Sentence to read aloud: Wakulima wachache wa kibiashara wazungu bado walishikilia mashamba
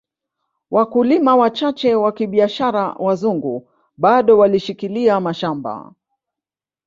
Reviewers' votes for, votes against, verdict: 1, 2, rejected